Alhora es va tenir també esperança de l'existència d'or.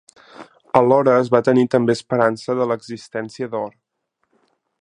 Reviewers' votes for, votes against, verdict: 3, 0, accepted